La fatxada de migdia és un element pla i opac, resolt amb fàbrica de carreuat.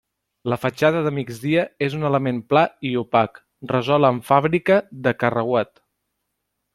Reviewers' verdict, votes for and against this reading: rejected, 0, 2